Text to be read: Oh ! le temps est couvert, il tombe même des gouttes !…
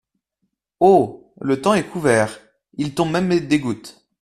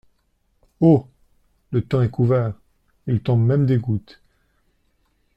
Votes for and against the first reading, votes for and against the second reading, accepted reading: 1, 2, 2, 0, second